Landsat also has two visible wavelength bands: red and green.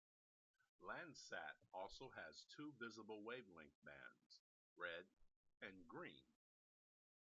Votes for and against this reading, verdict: 1, 2, rejected